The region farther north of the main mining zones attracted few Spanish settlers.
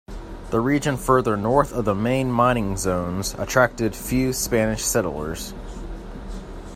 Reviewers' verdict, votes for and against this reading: rejected, 0, 2